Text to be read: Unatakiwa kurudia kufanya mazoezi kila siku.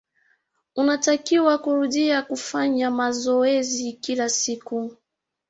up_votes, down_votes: 4, 0